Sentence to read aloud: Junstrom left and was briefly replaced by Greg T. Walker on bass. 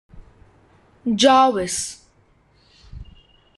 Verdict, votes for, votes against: rejected, 0, 2